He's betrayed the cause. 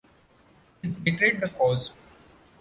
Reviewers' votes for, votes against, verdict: 2, 0, accepted